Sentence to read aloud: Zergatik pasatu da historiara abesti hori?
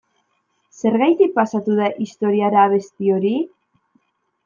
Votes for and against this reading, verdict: 2, 0, accepted